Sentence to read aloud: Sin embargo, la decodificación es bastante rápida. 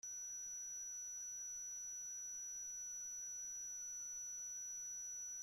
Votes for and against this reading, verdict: 0, 2, rejected